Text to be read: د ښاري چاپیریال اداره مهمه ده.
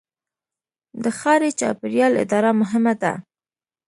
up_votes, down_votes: 1, 2